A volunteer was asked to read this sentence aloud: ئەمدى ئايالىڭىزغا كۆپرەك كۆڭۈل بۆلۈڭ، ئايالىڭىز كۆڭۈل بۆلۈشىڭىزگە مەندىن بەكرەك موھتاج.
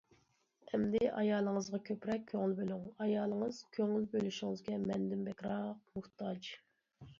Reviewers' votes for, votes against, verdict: 1, 2, rejected